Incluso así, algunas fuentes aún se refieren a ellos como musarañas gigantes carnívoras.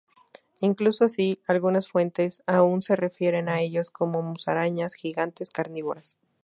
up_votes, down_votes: 2, 0